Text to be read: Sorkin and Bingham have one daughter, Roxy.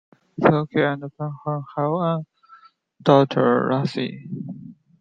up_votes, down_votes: 0, 2